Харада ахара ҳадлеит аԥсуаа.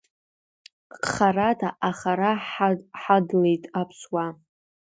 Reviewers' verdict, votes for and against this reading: rejected, 0, 2